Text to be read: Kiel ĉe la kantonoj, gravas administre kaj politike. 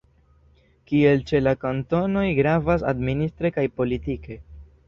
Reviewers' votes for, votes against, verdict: 1, 2, rejected